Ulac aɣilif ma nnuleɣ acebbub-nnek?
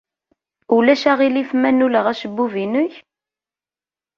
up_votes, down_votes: 1, 2